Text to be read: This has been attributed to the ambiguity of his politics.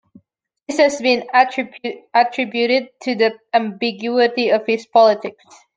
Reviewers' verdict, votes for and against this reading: rejected, 1, 2